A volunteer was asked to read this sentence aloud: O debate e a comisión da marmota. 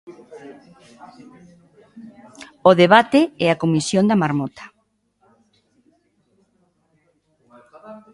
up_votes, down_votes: 0, 2